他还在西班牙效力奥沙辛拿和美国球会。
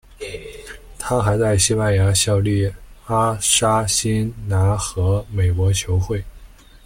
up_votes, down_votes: 0, 2